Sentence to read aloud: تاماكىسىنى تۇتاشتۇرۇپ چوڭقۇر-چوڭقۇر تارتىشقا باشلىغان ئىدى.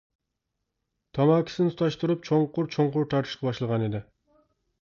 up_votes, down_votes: 2, 0